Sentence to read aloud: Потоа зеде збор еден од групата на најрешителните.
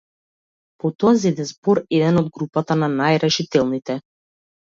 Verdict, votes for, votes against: accepted, 2, 0